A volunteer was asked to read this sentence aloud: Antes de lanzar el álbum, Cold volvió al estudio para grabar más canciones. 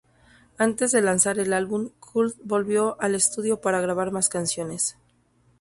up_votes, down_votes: 2, 2